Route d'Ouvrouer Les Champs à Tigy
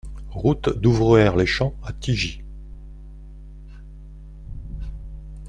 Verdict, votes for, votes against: accepted, 2, 1